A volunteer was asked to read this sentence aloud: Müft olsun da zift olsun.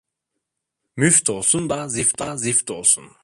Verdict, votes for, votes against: rejected, 0, 2